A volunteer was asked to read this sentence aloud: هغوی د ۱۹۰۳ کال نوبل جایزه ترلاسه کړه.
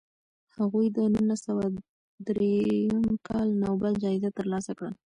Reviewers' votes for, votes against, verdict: 0, 2, rejected